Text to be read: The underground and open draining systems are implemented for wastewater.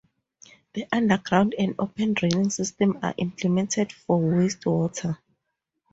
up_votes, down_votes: 2, 0